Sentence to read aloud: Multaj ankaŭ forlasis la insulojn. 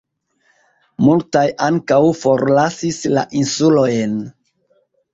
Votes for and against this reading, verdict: 1, 2, rejected